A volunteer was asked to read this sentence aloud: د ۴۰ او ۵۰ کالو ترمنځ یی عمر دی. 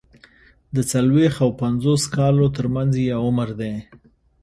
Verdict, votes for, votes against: rejected, 0, 2